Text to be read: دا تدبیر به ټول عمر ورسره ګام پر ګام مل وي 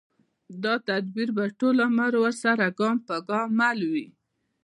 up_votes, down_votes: 2, 0